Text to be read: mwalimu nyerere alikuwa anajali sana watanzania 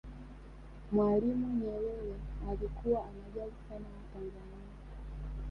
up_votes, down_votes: 1, 2